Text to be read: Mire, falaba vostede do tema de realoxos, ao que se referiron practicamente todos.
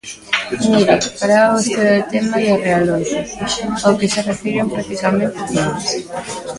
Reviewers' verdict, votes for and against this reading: rejected, 0, 2